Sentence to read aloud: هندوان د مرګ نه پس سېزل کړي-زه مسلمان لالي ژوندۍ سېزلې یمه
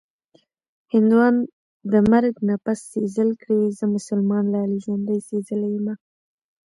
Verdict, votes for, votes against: accepted, 2, 0